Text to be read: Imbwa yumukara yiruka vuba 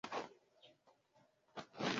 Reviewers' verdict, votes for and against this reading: rejected, 1, 2